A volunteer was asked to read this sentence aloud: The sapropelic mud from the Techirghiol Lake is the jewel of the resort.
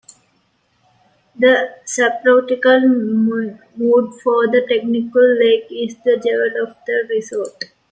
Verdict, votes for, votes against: rejected, 1, 2